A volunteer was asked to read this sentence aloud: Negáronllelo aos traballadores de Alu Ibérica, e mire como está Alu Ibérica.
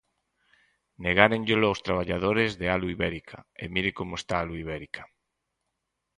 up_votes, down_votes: 6, 0